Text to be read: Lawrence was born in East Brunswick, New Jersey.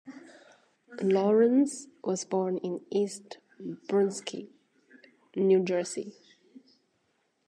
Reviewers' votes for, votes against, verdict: 1, 2, rejected